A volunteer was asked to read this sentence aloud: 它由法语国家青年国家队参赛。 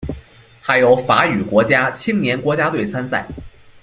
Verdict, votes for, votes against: accepted, 2, 0